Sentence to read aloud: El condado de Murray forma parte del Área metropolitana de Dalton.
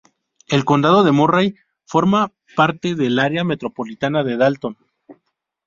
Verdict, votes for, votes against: rejected, 0, 2